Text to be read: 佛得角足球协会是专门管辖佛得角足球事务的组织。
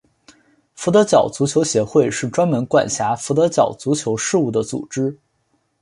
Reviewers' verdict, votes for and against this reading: accepted, 3, 0